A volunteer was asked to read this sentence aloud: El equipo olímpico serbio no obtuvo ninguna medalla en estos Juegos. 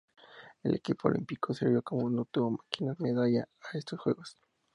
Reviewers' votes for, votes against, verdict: 2, 0, accepted